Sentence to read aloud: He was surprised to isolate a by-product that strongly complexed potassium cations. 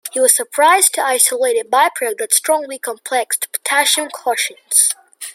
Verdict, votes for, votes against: rejected, 0, 2